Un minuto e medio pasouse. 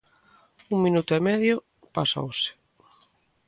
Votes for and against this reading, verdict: 2, 0, accepted